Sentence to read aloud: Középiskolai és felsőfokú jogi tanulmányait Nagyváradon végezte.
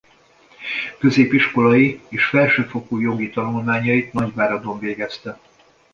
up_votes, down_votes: 2, 0